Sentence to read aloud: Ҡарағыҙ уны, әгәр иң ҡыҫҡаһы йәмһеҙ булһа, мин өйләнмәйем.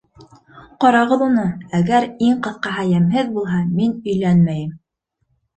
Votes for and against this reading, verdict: 2, 0, accepted